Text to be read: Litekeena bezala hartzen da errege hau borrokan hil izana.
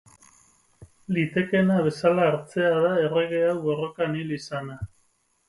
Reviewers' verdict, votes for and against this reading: rejected, 4, 4